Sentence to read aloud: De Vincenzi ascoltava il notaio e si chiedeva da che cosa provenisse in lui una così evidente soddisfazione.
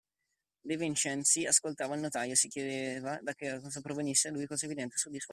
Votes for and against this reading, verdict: 1, 2, rejected